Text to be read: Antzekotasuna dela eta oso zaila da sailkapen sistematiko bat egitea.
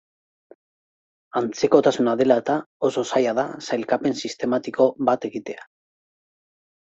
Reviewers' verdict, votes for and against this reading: accepted, 2, 0